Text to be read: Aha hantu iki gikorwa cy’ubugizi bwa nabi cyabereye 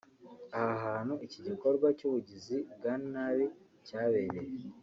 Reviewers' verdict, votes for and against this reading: accepted, 3, 1